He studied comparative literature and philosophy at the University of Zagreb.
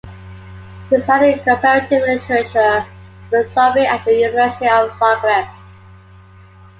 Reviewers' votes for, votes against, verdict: 1, 2, rejected